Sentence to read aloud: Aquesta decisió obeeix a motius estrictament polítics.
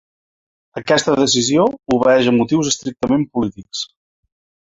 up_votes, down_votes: 2, 0